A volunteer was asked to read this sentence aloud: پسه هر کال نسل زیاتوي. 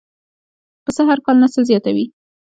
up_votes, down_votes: 1, 2